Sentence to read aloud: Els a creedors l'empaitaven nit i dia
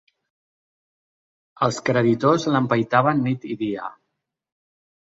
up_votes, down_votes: 1, 3